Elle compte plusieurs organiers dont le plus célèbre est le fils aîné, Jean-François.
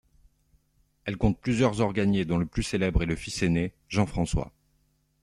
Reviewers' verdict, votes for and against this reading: rejected, 1, 2